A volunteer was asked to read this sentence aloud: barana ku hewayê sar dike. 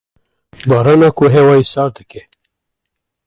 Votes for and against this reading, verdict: 1, 2, rejected